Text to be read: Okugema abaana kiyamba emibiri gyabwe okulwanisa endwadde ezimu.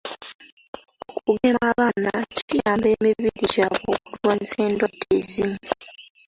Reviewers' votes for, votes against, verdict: 2, 1, accepted